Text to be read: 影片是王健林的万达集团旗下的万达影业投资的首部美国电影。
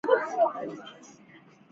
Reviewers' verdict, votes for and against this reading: rejected, 2, 6